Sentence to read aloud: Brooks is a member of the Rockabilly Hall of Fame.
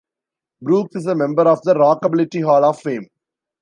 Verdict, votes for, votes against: rejected, 0, 2